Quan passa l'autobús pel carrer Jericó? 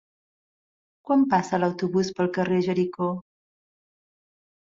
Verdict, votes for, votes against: accepted, 2, 0